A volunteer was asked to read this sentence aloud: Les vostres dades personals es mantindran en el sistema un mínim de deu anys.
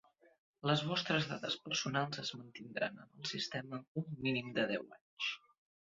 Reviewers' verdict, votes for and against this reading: rejected, 0, 2